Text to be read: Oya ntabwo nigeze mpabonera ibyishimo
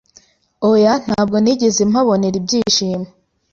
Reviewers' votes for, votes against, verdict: 2, 0, accepted